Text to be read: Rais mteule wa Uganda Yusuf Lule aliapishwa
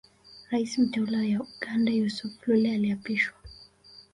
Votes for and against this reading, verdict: 2, 0, accepted